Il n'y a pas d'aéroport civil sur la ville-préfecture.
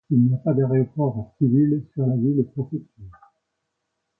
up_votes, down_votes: 2, 1